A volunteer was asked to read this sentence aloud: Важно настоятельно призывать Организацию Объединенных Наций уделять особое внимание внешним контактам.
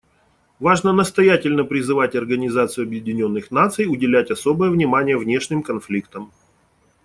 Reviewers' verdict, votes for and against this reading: rejected, 1, 2